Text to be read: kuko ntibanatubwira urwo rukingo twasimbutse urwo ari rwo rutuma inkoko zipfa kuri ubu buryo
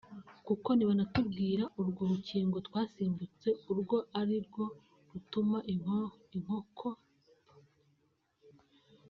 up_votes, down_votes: 0, 2